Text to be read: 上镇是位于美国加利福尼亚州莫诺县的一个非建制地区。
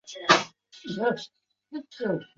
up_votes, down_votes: 3, 4